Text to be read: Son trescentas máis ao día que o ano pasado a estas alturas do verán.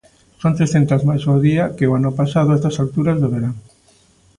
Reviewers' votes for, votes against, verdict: 2, 0, accepted